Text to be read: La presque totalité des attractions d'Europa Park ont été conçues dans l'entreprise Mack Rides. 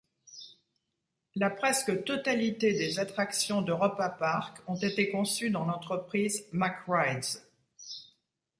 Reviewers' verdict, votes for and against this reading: accepted, 2, 0